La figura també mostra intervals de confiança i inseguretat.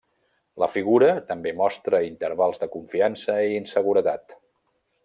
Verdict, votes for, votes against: accepted, 3, 0